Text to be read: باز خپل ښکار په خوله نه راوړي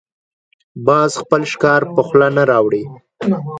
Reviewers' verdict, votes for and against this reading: accepted, 2, 0